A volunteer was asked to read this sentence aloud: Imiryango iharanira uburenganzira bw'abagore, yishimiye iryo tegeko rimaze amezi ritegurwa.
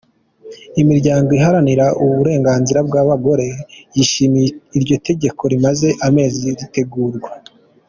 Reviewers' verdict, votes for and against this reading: accepted, 2, 0